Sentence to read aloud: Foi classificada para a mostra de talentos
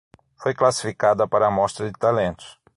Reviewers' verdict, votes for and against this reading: accepted, 6, 0